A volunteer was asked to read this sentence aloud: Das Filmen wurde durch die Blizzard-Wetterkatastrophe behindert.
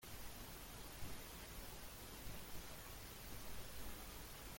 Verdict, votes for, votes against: rejected, 0, 2